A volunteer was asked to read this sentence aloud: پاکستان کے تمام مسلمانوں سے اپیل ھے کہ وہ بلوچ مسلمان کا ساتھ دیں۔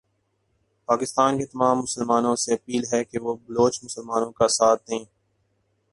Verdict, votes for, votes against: rejected, 0, 2